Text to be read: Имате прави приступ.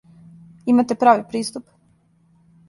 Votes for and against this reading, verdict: 2, 0, accepted